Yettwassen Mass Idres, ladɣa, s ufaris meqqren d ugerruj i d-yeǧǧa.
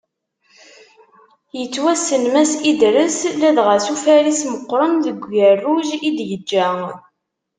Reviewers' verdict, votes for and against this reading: rejected, 1, 2